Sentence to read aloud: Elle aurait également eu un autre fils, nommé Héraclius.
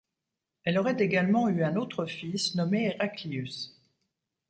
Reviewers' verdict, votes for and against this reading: accepted, 2, 0